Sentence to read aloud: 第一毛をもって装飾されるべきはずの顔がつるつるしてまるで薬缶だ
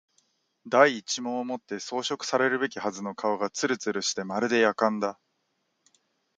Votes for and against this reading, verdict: 2, 1, accepted